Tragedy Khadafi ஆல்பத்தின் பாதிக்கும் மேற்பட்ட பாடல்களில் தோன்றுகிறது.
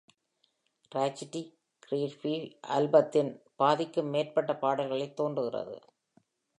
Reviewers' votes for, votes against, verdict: 1, 2, rejected